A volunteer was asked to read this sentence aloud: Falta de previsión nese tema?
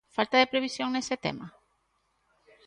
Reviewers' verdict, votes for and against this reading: accepted, 2, 0